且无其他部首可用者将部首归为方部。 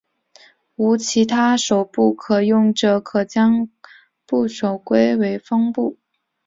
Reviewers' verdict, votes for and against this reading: rejected, 1, 2